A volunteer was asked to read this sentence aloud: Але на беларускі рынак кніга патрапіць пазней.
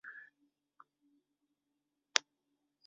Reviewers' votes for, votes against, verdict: 0, 2, rejected